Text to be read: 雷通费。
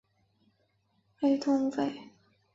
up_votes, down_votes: 2, 1